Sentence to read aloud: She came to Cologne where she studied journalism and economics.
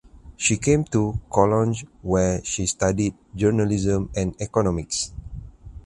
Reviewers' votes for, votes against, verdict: 0, 2, rejected